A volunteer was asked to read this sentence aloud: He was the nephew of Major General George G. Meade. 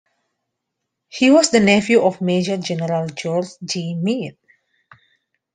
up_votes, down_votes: 2, 0